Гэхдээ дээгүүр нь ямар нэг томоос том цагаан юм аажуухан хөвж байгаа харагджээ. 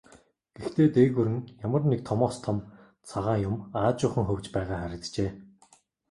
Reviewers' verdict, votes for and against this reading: accepted, 2, 0